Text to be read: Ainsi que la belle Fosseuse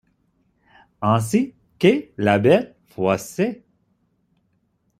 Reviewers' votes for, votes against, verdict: 0, 2, rejected